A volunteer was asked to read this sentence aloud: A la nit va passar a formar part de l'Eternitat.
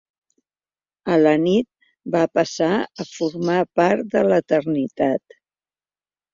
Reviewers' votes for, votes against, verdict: 3, 1, accepted